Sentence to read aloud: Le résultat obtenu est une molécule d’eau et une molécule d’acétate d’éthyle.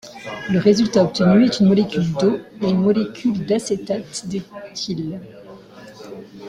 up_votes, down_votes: 2, 1